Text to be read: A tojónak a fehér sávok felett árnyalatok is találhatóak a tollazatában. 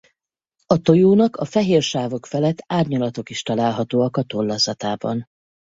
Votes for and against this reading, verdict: 4, 0, accepted